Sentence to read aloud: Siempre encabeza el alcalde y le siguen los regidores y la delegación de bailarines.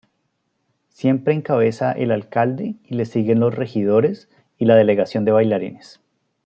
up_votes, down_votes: 2, 0